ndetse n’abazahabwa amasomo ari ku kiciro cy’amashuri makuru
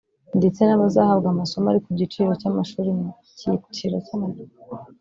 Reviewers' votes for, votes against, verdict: 0, 2, rejected